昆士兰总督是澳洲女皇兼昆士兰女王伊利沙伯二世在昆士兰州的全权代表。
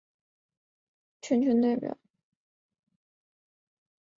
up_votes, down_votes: 0, 2